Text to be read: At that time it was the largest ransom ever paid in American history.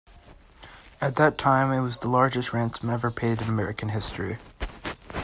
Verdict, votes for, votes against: accepted, 2, 0